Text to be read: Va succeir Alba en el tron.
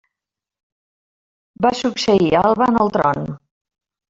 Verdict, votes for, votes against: accepted, 3, 0